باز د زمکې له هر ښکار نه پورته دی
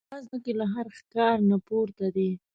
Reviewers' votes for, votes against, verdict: 1, 2, rejected